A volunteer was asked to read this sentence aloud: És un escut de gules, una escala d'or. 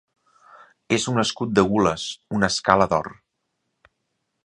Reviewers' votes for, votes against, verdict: 3, 0, accepted